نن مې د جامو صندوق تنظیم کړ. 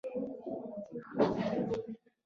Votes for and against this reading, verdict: 0, 2, rejected